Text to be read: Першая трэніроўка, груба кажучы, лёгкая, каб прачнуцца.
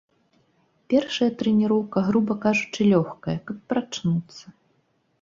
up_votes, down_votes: 2, 0